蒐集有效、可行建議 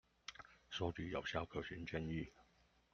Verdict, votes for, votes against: accepted, 2, 0